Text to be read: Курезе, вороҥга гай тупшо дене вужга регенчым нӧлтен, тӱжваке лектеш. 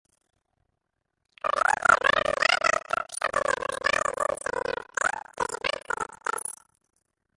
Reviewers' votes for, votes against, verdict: 0, 2, rejected